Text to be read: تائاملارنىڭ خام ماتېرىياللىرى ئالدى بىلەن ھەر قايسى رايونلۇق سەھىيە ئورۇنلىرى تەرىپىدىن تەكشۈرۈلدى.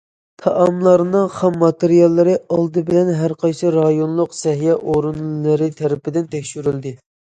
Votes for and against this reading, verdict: 2, 0, accepted